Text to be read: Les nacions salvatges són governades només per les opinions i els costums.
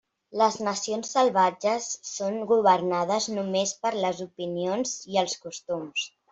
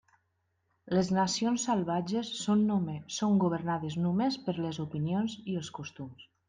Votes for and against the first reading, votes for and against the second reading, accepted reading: 4, 0, 1, 2, first